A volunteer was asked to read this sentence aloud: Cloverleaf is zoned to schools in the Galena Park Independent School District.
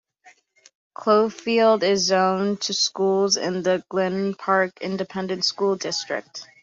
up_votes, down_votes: 2, 1